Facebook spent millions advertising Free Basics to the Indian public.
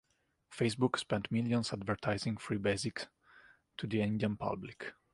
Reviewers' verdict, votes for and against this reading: accepted, 2, 0